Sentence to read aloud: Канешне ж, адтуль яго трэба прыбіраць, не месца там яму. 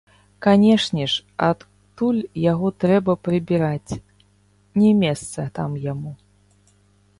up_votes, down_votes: 1, 3